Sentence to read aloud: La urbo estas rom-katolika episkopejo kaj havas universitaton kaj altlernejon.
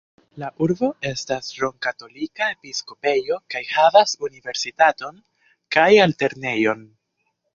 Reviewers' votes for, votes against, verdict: 2, 0, accepted